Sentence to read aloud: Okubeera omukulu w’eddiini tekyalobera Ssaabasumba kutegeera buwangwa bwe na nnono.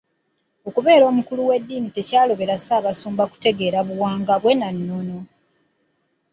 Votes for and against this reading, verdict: 2, 1, accepted